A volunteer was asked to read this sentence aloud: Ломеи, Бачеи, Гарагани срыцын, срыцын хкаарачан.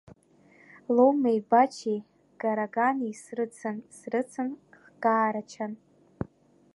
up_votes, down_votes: 1, 2